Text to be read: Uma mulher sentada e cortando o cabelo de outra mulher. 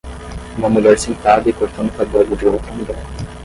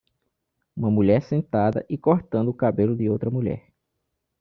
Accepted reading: second